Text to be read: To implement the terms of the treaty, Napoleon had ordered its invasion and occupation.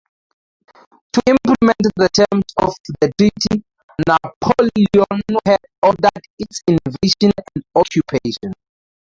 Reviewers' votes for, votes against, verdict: 2, 2, rejected